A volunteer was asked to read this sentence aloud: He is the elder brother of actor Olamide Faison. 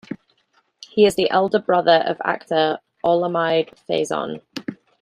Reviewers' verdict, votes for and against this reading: accepted, 2, 0